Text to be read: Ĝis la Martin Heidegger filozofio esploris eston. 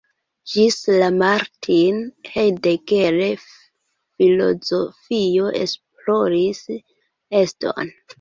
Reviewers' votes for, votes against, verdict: 0, 3, rejected